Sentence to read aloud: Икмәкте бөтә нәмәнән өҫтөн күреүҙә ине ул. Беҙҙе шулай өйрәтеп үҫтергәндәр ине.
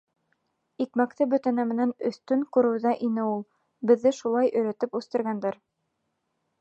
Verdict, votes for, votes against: rejected, 0, 2